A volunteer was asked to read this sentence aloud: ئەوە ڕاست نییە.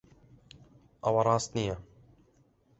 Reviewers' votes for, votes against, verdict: 2, 0, accepted